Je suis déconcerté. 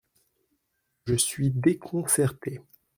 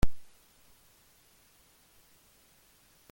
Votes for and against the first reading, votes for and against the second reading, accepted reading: 2, 0, 0, 2, first